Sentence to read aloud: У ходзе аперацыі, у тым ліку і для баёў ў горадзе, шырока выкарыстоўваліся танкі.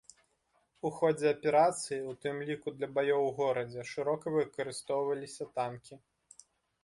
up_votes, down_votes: 0, 2